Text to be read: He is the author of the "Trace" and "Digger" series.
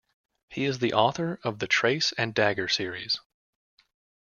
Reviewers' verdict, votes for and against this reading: rejected, 0, 2